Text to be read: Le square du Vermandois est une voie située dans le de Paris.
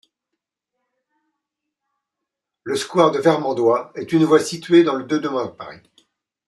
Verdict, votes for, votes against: accepted, 2, 0